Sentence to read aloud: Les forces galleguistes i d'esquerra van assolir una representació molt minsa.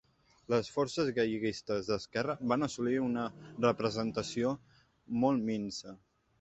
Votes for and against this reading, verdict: 0, 2, rejected